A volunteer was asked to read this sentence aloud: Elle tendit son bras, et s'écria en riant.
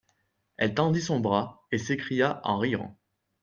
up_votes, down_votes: 2, 0